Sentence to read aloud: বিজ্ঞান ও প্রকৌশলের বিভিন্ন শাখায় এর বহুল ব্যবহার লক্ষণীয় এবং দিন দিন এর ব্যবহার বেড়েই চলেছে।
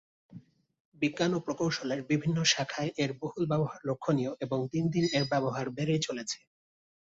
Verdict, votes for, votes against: accepted, 2, 0